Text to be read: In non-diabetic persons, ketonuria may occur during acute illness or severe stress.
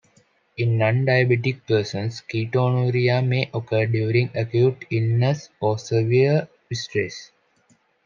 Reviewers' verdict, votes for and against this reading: accepted, 2, 0